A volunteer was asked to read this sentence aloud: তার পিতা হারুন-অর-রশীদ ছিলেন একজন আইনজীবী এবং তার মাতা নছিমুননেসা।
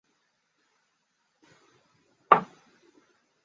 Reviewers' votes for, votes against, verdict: 0, 2, rejected